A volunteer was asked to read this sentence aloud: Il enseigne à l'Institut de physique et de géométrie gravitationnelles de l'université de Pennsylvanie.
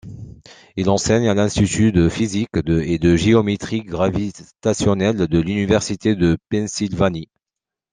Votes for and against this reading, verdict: 0, 2, rejected